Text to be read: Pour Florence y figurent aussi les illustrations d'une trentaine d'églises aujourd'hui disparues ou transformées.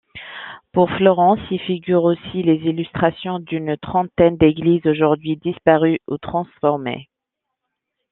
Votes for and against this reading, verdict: 2, 0, accepted